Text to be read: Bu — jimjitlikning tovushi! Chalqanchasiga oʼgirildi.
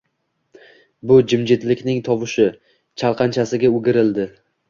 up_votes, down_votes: 1, 2